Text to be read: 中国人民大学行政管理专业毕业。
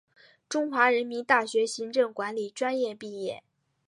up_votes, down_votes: 5, 0